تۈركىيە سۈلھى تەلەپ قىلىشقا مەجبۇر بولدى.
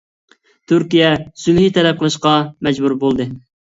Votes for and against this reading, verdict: 2, 0, accepted